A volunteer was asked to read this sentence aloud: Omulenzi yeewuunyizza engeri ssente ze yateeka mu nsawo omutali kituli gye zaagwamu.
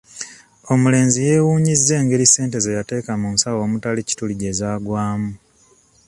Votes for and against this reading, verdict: 2, 1, accepted